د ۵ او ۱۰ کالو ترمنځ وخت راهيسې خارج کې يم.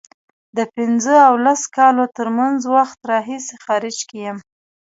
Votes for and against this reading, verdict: 0, 2, rejected